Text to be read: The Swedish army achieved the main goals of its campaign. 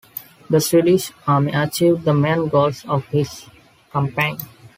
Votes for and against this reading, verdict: 2, 0, accepted